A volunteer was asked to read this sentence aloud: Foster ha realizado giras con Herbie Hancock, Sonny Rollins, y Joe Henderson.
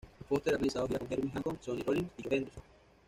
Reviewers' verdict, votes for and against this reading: rejected, 1, 2